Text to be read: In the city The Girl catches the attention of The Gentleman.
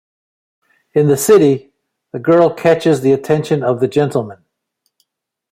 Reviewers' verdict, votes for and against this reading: accepted, 2, 0